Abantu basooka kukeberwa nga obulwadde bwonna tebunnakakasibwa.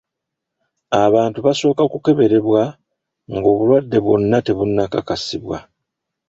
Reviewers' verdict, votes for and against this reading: rejected, 0, 2